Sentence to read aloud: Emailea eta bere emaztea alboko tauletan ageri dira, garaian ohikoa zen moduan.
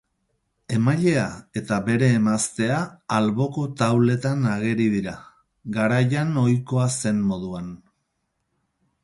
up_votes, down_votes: 4, 0